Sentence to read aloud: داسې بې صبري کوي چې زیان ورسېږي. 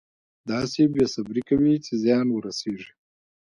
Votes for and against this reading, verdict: 1, 2, rejected